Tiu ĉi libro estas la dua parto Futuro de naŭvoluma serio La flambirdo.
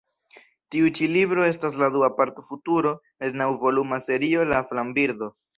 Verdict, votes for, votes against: rejected, 1, 2